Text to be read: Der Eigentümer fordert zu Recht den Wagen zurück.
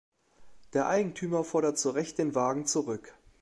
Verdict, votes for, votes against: accepted, 3, 0